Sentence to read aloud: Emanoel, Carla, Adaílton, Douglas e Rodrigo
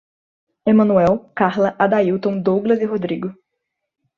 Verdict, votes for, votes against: accepted, 2, 0